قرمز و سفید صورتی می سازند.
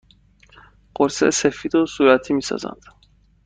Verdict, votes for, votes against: rejected, 1, 2